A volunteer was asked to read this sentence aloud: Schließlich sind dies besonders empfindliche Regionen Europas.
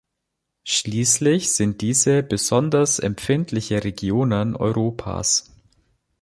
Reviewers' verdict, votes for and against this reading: rejected, 0, 2